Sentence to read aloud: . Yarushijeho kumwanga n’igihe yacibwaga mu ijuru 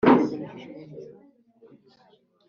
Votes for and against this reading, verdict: 2, 4, rejected